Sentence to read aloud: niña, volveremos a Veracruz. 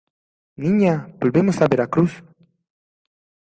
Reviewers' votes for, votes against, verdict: 0, 2, rejected